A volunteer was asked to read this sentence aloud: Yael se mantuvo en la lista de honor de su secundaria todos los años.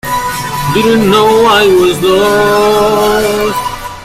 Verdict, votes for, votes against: rejected, 0, 2